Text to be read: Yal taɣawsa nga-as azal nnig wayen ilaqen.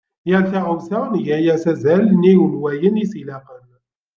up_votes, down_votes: 0, 2